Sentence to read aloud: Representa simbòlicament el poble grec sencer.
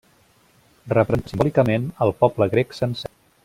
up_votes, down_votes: 0, 2